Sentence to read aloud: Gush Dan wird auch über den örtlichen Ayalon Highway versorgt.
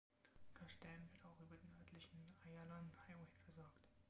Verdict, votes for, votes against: rejected, 0, 2